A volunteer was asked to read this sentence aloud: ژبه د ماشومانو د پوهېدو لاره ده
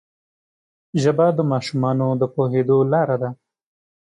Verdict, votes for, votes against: accepted, 2, 0